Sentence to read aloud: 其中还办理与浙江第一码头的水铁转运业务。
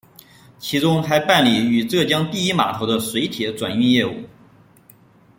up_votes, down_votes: 2, 1